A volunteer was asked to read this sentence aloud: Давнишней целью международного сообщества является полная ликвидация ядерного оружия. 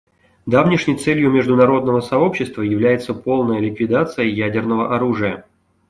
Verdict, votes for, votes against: accepted, 2, 0